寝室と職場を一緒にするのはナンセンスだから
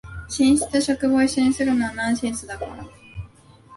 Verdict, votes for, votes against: rejected, 1, 2